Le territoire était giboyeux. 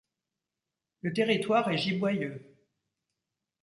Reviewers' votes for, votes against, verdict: 1, 2, rejected